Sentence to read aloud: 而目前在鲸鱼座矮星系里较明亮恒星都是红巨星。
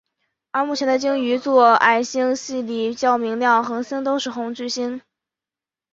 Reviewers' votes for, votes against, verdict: 2, 1, accepted